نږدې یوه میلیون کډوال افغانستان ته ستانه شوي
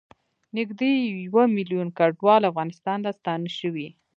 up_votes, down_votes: 1, 2